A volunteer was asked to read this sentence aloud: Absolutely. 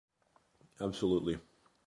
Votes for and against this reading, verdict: 2, 0, accepted